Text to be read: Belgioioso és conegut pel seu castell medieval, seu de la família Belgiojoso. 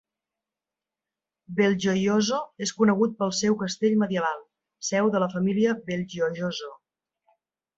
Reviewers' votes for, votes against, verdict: 2, 0, accepted